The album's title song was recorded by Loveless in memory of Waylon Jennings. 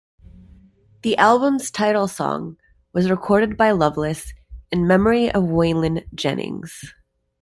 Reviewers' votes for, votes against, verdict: 2, 0, accepted